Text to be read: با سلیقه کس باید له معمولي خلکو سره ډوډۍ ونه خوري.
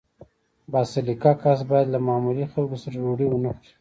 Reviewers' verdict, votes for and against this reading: accepted, 2, 0